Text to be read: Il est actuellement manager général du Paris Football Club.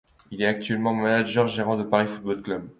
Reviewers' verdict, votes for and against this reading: accepted, 2, 1